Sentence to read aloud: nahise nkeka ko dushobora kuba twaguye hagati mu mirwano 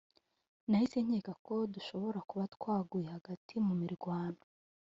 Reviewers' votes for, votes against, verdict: 2, 0, accepted